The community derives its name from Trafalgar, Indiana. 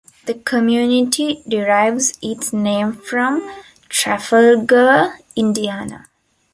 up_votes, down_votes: 0, 2